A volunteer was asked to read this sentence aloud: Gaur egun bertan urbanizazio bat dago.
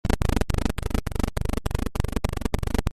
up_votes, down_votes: 0, 2